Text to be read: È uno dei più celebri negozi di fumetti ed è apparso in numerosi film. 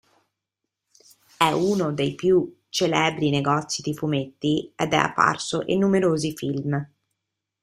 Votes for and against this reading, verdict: 1, 2, rejected